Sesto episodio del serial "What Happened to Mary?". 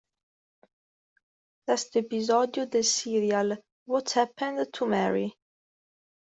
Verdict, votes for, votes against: rejected, 0, 2